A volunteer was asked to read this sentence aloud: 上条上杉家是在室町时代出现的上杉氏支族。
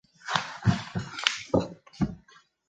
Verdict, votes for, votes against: rejected, 1, 2